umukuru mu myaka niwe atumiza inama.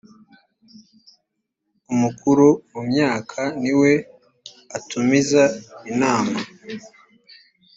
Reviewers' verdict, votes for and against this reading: accepted, 2, 0